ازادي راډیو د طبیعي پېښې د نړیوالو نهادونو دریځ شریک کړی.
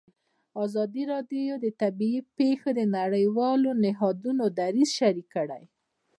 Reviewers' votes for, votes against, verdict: 2, 0, accepted